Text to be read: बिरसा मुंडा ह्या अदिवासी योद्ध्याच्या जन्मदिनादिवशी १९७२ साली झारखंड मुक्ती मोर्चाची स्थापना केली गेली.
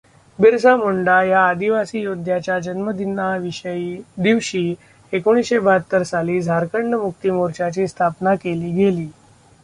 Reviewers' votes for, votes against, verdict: 0, 2, rejected